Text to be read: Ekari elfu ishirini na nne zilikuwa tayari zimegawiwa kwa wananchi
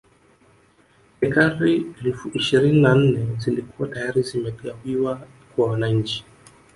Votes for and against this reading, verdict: 2, 0, accepted